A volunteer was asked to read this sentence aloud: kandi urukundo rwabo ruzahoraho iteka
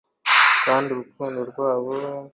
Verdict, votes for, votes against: rejected, 0, 2